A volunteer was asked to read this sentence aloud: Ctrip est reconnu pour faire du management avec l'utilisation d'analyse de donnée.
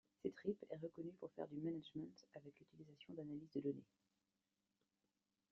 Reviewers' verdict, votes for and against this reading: rejected, 1, 2